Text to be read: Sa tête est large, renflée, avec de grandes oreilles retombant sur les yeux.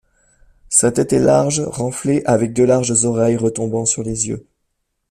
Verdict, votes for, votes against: rejected, 0, 2